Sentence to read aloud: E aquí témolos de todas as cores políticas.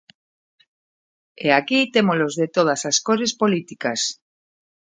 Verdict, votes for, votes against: accepted, 2, 0